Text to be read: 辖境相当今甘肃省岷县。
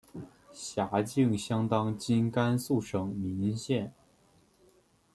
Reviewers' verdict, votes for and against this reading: accepted, 2, 1